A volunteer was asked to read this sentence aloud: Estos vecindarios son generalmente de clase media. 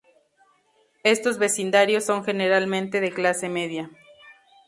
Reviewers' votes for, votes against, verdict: 2, 0, accepted